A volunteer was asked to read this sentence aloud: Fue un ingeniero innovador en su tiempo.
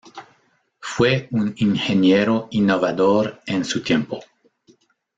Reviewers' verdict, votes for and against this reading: rejected, 0, 2